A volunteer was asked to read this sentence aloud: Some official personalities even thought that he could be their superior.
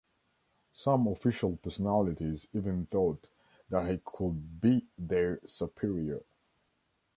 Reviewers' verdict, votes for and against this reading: accepted, 2, 0